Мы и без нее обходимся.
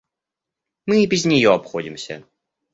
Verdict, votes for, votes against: accepted, 2, 0